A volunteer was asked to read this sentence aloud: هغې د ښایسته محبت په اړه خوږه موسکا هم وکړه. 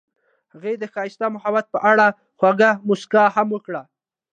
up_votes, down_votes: 2, 0